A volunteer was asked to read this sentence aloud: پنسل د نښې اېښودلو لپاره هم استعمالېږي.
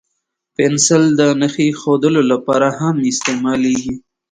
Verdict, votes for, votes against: accepted, 2, 0